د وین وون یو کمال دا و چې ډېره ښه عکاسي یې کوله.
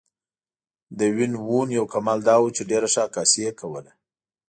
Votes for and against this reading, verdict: 2, 0, accepted